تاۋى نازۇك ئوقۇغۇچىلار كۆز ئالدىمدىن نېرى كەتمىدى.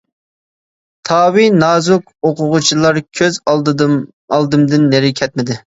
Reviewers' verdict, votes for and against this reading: rejected, 0, 2